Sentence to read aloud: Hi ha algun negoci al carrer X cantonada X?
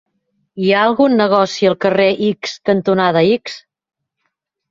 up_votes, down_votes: 3, 0